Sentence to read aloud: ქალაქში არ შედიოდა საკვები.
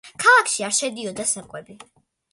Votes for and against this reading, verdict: 2, 0, accepted